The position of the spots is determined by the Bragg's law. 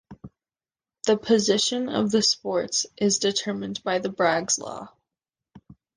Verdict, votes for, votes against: rejected, 1, 2